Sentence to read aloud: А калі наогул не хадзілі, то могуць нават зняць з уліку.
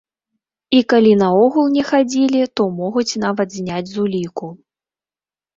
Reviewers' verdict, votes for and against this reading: rejected, 0, 2